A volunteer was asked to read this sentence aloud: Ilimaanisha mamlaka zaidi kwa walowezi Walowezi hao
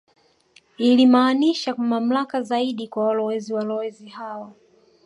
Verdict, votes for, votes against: accepted, 2, 0